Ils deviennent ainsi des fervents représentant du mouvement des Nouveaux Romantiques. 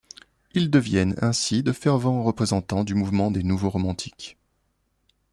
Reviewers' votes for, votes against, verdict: 2, 0, accepted